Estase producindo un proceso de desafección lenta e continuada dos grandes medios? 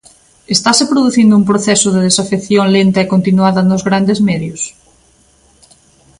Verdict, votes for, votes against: rejected, 0, 2